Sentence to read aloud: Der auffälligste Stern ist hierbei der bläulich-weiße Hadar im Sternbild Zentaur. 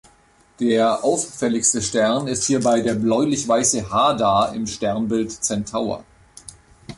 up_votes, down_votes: 2, 0